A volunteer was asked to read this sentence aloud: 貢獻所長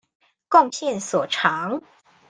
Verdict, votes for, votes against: accepted, 2, 0